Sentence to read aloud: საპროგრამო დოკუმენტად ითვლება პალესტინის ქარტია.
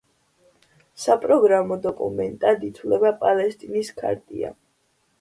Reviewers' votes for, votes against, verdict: 2, 0, accepted